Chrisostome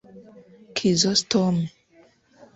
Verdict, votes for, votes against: rejected, 0, 2